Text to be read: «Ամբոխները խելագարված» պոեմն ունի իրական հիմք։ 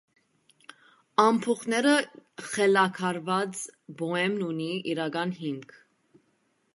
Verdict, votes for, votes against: rejected, 1, 2